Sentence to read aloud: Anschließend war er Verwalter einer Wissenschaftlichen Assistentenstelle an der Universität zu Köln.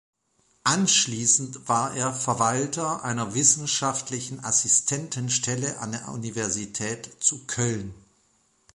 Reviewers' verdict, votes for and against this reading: accepted, 2, 0